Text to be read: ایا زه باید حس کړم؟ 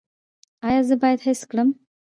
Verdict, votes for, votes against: rejected, 1, 2